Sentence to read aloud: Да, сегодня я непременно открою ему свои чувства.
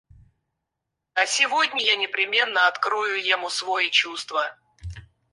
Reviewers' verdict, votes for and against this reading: rejected, 0, 4